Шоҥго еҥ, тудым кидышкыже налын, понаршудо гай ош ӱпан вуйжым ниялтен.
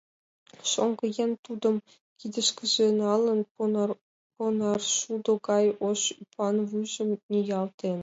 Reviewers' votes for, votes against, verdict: 0, 2, rejected